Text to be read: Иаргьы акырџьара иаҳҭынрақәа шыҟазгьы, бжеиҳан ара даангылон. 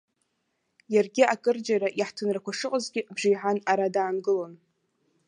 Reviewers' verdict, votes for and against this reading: accepted, 2, 1